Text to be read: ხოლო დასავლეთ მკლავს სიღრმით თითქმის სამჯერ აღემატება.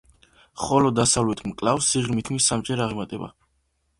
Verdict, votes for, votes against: rejected, 0, 2